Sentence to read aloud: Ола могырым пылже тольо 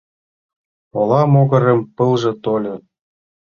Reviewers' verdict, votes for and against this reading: accepted, 3, 0